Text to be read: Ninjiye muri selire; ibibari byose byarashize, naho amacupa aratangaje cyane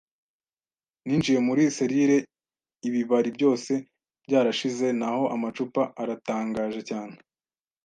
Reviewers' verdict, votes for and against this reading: accepted, 2, 0